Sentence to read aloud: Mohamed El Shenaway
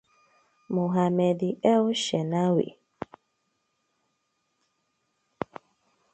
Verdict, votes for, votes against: accepted, 2, 0